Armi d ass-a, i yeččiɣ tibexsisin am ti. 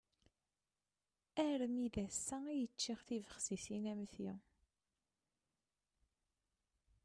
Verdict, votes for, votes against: accepted, 2, 0